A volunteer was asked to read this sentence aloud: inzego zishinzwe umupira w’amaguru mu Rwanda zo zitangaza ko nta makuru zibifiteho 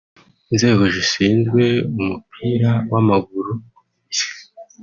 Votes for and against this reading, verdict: 1, 2, rejected